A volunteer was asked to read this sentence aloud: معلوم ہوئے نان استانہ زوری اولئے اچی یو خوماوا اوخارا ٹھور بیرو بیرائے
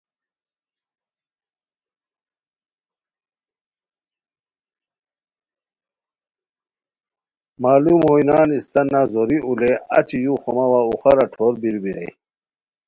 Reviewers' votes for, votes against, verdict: 0, 2, rejected